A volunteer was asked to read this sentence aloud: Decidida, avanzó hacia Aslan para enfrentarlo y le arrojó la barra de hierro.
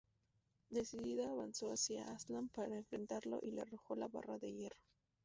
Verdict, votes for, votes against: accepted, 2, 0